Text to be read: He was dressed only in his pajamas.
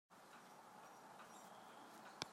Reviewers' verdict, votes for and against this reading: rejected, 0, 3